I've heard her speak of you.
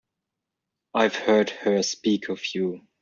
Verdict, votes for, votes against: accepted, 2, 0